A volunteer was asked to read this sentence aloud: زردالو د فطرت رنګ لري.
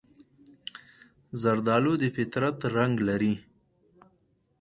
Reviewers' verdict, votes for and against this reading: accepted, 4, 0